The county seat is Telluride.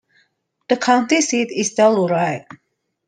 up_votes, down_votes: 2, 0